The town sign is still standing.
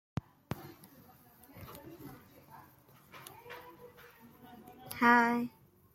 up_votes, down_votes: 0, 2